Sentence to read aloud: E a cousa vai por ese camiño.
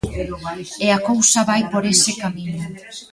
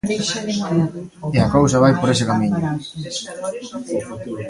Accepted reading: second